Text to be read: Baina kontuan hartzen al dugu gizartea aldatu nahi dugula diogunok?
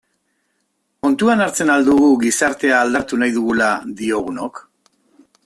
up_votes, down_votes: 0, 2